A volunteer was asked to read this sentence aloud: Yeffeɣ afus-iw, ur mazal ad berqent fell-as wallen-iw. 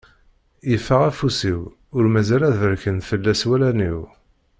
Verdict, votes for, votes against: rejected, 0, 2